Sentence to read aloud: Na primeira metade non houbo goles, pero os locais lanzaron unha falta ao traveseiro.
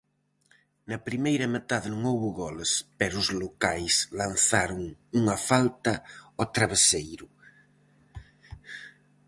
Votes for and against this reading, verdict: 4, 0, accepted